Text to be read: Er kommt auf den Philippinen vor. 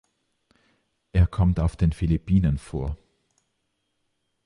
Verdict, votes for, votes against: accepted, 2, 0